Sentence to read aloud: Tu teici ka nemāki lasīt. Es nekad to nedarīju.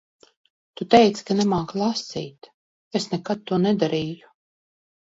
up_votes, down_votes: 2, 0